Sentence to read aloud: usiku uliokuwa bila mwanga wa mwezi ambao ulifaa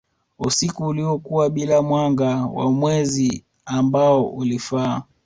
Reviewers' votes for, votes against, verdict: 2, 0, accepted